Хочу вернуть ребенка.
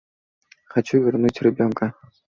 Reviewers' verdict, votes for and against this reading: accepted, 2, 0